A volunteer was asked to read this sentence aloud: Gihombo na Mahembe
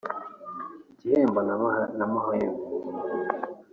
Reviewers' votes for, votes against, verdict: 1, 2, rejected